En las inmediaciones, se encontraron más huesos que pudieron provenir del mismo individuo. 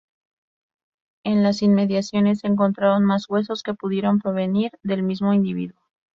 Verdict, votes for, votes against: accepted, 2, 0